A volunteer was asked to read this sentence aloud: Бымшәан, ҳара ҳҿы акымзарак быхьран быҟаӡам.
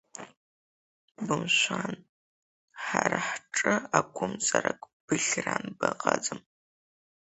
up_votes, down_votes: 0, 2